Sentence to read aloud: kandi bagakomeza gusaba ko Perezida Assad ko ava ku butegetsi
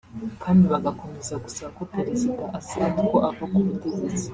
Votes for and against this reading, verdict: 0, 2, rejected